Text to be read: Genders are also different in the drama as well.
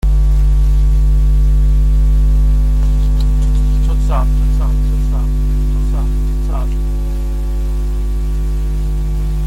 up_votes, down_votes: 0, 2